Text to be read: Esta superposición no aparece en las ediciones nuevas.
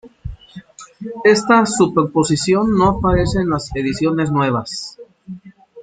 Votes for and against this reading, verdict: 1, 2, rejected